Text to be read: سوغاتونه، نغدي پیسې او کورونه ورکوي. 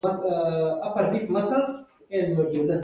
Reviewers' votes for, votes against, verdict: 1, 2, rejected